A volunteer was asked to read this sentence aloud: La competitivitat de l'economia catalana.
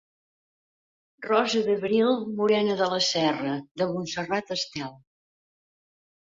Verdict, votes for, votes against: rejected, 0, 2